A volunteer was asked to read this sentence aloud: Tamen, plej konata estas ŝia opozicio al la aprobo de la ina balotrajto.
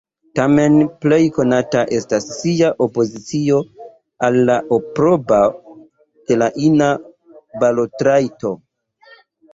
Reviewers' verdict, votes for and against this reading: accepted, 2, 0